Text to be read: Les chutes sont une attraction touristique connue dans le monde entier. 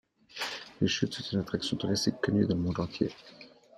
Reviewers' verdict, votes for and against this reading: rejected, 1, 2